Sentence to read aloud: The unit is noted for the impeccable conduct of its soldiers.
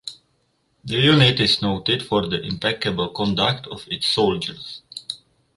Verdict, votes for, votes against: rejected, 2, 2